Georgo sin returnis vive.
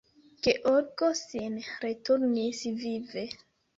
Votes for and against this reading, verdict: 2, 1, accepted